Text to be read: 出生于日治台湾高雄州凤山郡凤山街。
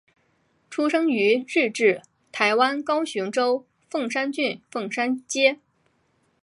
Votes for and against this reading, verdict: 6, 0, accepted